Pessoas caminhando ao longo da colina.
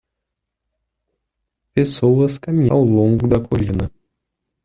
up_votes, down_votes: 0, 2